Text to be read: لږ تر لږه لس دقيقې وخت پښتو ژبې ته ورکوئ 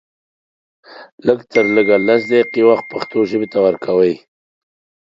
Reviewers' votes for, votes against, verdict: 1, 2, rejected